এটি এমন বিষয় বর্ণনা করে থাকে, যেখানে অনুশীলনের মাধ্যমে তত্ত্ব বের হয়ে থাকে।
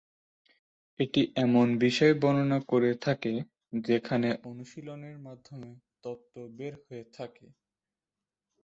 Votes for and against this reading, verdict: 1, 2, rejected